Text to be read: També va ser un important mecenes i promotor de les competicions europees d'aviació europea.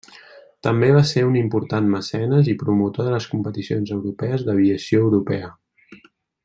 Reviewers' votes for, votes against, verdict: 2, 0, accepted